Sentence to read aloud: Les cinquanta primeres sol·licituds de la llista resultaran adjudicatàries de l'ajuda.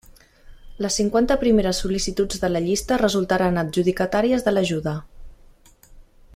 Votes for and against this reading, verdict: 3, 0, accepted